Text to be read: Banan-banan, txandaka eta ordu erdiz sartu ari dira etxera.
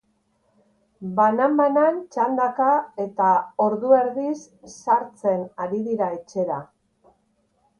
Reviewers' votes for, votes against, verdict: 3, 5, rejected